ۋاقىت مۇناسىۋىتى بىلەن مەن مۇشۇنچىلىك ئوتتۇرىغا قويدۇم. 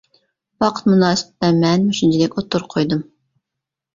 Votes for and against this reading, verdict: 0, 2, rejected